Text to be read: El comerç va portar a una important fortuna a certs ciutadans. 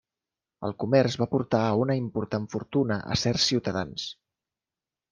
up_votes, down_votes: 2, 0